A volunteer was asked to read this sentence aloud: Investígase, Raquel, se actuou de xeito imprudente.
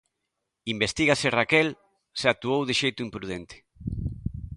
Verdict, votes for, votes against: accepted, 2, 0